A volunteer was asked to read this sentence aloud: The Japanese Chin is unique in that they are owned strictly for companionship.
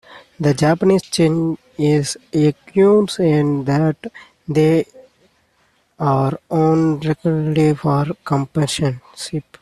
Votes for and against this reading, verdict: 0, 2, rejected